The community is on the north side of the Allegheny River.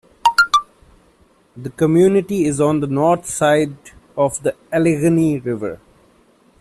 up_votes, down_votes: 1, 2